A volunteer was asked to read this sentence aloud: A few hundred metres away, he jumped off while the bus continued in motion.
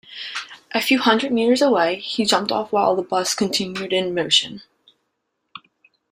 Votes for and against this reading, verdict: 2, 0, accepted